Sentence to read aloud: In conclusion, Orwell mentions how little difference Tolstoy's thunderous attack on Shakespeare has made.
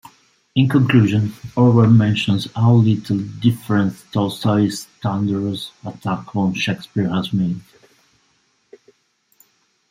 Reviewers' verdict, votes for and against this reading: rejected, 1, 2